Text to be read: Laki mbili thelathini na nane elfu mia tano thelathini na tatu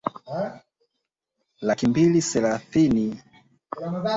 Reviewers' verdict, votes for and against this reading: rejected, 0, 3